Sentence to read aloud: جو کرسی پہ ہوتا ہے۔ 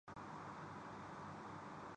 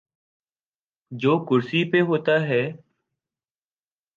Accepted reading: second